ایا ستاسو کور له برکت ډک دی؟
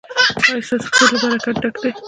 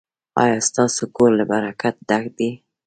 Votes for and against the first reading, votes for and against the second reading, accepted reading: 1, 2, 2, 0, second